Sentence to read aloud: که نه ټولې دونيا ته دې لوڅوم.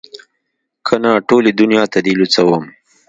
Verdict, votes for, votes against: accepted, 2, 0